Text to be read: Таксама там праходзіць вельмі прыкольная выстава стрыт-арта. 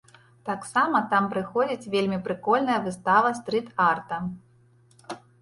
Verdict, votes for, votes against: rejected, 1, 2